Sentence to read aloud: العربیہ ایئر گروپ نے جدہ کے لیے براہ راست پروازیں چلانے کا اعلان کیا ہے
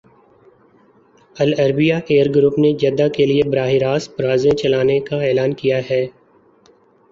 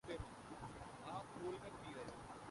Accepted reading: first